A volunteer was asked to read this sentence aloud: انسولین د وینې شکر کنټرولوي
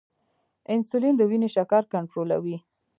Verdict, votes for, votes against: rejected, 1, 2